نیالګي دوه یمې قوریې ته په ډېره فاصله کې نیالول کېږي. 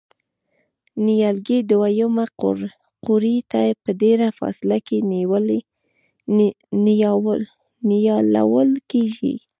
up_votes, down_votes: 2, 0